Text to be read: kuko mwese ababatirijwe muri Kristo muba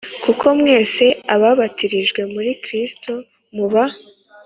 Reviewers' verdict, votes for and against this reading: accepted, 2, 0